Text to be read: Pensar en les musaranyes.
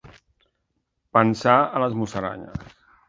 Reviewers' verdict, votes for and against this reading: rejected, 1, 2